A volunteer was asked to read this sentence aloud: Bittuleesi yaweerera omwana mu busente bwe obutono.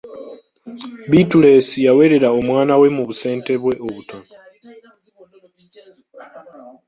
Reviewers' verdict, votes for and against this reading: rejected, 1, 2